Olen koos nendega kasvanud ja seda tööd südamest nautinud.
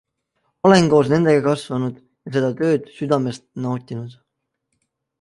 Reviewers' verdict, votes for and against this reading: accepted, 2, 0